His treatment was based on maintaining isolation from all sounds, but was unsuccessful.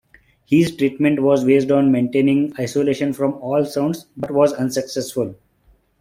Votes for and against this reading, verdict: 2, 0, accepted